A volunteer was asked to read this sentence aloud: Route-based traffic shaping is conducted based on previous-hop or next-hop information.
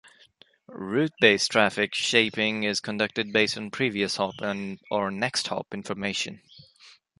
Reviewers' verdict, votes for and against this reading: accepted, 2, 1